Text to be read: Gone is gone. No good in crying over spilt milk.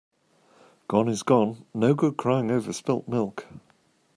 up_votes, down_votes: 0, 2